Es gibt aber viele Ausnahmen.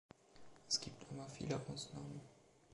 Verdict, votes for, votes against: accepted, 2, 1